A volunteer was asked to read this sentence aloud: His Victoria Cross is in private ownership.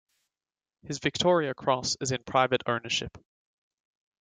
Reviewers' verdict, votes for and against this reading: accepted, 2, 0